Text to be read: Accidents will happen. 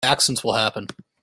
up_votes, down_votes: 0, 2